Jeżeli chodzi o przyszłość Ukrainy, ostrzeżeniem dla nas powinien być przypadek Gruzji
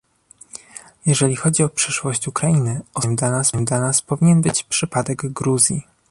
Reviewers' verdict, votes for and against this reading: rejected, 0, 2